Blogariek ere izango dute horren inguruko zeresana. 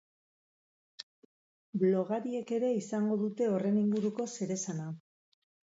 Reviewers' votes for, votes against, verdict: 2, 2, rejected